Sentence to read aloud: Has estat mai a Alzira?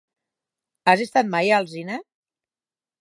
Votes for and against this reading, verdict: 0, 4, rejected